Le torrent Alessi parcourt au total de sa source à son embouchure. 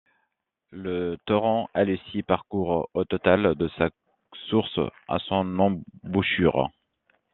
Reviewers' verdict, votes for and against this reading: rejected, 1, 2